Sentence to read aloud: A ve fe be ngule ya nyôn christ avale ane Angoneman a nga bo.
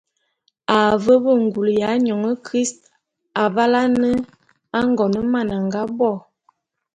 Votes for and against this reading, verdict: 2, 0, accepted